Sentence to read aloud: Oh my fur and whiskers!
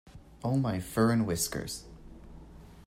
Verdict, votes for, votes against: accepted, 2, 0